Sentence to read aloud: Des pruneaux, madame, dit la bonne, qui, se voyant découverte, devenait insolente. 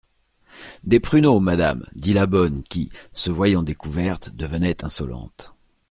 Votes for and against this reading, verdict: 2, 0, accepted